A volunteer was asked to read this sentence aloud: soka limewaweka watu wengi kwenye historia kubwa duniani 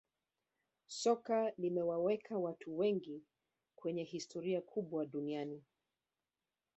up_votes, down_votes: 2, 0